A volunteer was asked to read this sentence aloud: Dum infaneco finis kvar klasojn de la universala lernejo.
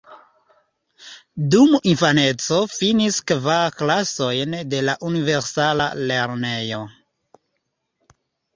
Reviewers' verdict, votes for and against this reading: accepted, 3, 0